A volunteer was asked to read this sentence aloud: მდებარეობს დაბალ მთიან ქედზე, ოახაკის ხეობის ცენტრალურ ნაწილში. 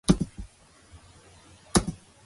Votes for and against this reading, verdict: 0, 2, rejected